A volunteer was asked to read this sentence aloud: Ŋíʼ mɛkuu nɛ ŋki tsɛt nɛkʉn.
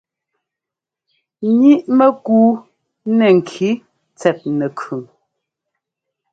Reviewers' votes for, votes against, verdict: 3, 0, accepted